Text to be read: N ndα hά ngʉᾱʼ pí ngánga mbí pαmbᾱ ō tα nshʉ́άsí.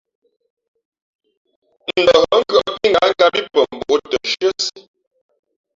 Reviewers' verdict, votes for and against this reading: rejected, 0, 2